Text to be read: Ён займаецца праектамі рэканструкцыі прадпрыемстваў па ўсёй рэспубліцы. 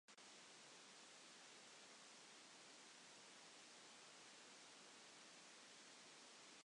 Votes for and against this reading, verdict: 0, 2, rejected